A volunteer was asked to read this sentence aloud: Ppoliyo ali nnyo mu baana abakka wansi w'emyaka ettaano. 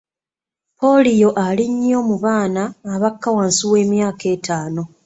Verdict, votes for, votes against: accepted, 2, 0